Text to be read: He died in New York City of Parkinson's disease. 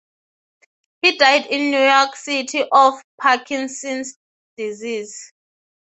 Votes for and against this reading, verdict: 3, 0, accepted